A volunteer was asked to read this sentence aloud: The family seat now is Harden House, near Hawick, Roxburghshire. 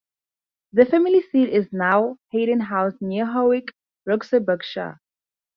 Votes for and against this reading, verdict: 0, 2, rejected